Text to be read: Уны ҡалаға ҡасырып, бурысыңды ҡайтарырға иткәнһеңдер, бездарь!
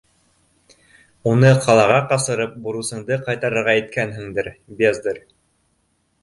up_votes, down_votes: 2, 0